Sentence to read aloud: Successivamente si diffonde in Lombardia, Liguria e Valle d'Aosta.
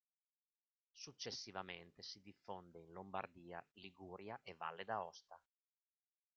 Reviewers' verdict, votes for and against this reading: accepted, 2, 0